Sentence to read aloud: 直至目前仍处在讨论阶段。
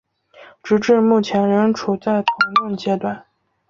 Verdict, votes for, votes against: rejected, 0, 2